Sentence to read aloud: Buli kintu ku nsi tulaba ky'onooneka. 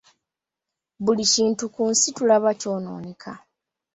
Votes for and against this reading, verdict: 2, 1, accepted